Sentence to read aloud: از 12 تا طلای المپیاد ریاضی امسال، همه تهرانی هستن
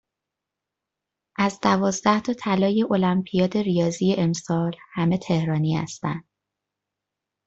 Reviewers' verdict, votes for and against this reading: rejected, 0, 2